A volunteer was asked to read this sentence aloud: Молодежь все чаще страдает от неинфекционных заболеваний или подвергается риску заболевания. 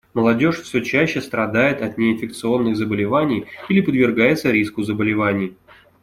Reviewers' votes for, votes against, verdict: 2, 1, accepted